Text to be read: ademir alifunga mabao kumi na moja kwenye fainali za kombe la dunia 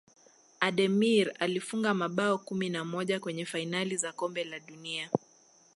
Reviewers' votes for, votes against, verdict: 2, 0, accepted